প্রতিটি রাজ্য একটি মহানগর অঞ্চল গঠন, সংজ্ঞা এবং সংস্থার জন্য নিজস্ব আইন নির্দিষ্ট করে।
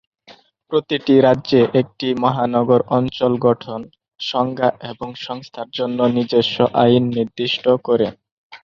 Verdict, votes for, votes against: rejected, 1, 4